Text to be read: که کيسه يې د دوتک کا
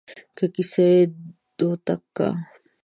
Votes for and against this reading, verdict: 1, 2, rejected